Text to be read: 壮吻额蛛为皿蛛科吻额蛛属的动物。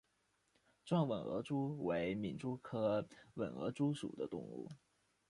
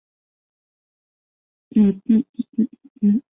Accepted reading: first